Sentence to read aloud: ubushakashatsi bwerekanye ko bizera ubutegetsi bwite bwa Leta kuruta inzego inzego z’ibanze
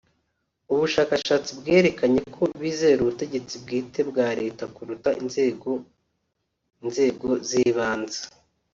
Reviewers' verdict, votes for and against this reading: accepted, 2, 0